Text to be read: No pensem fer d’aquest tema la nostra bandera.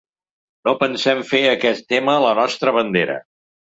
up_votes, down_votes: 1, 2